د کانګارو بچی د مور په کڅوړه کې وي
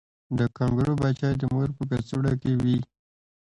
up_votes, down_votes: 2, 1